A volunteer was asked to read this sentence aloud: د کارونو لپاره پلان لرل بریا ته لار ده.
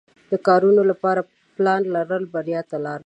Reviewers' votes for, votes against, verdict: 2, 0, accepted